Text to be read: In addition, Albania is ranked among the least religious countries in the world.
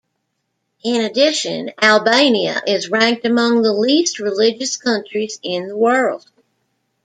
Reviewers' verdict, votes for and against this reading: accepted, 2, 0